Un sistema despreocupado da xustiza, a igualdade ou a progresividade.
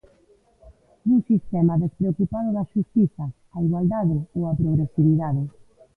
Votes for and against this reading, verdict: 1, 2, rejected